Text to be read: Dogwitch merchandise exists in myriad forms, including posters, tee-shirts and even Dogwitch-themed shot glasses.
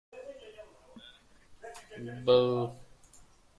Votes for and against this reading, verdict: 0, 2, rejected